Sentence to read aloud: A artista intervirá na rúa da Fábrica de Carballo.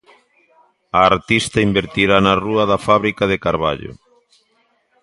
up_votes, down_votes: 0, 2